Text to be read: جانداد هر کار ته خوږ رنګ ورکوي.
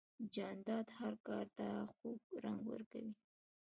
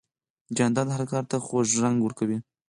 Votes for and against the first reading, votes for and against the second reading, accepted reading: 2, 3, 4, 0, second